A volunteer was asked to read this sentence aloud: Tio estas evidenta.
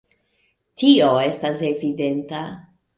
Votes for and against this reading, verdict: 1, 2, rejected